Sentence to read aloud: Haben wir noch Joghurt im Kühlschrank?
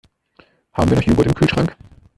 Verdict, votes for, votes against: rejected, 1, 2